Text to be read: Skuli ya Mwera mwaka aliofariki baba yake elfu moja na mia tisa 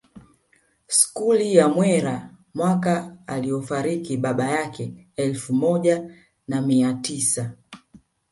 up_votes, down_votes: 2, 0